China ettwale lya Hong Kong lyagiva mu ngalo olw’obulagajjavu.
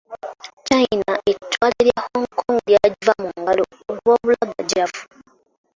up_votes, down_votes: 0, 2